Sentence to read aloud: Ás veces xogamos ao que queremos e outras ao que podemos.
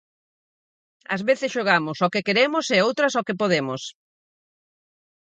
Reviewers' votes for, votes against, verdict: 4, 0, accepted